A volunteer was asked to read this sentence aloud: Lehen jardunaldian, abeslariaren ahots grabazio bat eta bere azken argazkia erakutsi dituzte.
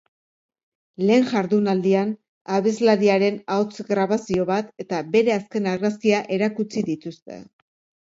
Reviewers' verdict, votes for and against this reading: accepted, 2, 0